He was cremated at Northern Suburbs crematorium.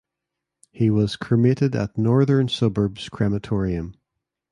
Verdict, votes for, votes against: accepted, 2, 0